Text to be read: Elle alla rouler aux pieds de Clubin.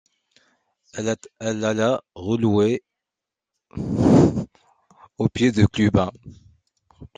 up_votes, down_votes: 0, 2